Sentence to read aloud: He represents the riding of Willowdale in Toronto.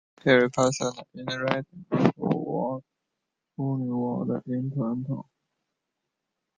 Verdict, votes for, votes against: rejected, 0, 2